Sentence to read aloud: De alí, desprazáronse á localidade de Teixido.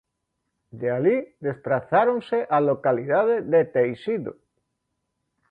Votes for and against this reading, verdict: 2, 0, accepted